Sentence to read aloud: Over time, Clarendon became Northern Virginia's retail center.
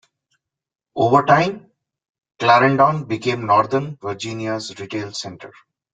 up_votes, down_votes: 2, 0